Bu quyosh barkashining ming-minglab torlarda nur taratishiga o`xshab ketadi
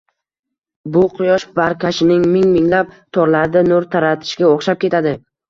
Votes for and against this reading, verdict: 2, 1, accepted